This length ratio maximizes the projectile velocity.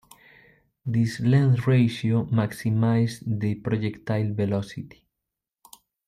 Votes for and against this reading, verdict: 0, 2, rejected